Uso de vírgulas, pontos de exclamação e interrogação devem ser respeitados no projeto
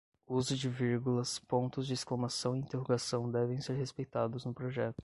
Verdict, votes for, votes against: rejected, 5, 5